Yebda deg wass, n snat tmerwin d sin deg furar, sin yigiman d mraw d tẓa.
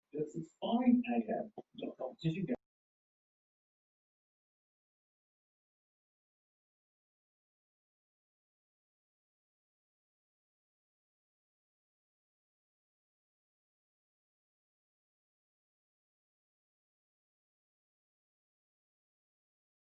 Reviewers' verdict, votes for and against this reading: rejected, 0, 2